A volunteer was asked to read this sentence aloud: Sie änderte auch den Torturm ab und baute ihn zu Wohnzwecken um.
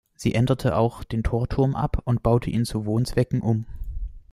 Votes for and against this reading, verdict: 2, 0, accepted